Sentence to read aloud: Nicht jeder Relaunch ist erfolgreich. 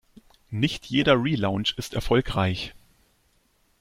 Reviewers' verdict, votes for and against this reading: accepted, 2, 0